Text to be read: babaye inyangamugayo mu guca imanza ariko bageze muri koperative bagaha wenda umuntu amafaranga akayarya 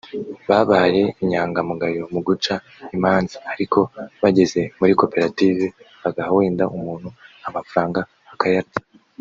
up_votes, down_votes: 1, 2